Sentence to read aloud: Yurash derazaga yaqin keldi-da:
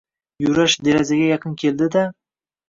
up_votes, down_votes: 2, 1